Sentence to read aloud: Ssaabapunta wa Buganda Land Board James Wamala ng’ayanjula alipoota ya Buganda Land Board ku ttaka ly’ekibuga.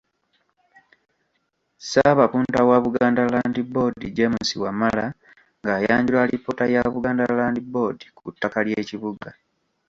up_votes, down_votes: 1, 2